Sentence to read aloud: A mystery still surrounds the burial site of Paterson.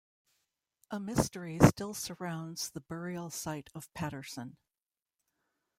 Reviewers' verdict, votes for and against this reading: rejected, 1, 2